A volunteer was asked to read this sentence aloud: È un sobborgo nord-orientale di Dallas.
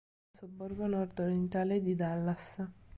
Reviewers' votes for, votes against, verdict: 1, 2, rejected